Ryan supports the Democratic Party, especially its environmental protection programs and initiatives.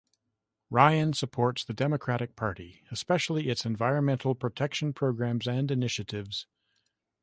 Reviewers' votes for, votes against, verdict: 3, 0, accepted